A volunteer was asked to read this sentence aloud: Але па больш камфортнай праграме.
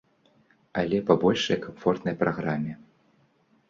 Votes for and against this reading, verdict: 1, 2, rejected